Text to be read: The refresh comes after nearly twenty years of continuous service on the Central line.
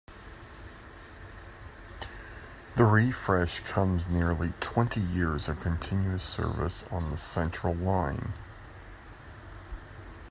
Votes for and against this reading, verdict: 0, 2, rejected